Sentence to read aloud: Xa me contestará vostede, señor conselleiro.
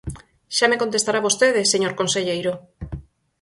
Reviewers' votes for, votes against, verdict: 4, 0, accepted